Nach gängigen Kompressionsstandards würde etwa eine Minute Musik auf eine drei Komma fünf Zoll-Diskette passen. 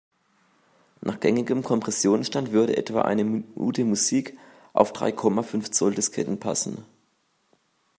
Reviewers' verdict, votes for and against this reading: rejected, 0, 2